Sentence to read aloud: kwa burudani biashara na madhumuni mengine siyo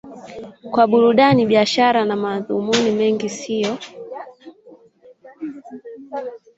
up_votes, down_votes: 1, 3